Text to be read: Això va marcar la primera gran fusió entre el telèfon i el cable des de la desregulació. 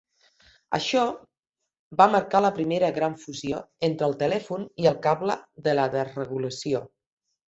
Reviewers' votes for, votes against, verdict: 1, 2, rejected